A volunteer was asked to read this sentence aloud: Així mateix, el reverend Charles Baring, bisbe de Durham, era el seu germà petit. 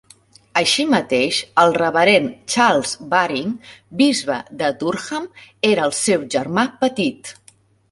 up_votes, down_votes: 4, 0